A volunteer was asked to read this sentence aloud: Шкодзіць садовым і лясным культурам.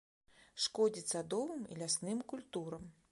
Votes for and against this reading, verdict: 2, 0, accepted